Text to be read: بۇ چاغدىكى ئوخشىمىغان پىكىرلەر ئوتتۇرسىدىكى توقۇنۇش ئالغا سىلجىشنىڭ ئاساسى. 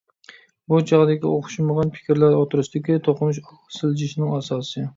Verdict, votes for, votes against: accepted, 2, 1